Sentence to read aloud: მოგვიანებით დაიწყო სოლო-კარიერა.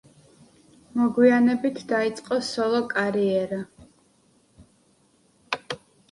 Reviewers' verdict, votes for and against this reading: accepted, 2, 1